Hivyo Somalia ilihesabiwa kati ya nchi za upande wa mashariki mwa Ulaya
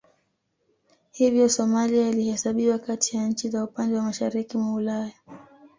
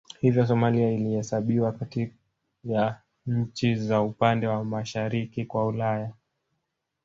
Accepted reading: first